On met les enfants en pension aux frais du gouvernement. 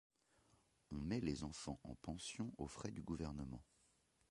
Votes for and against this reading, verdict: 0, 2, rejected